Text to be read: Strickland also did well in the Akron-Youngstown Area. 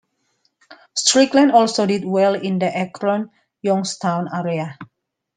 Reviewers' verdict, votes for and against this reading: accepted, 2, 1